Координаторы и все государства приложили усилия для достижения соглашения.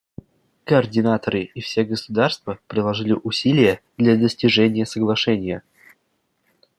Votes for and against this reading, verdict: 2, 0, accepted